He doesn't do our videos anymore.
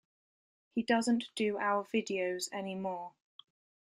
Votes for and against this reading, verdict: 2, 0, accepted